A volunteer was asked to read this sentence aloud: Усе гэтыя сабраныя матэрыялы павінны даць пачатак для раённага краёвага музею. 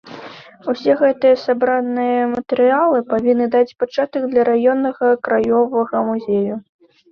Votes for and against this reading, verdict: 2, 0, accepted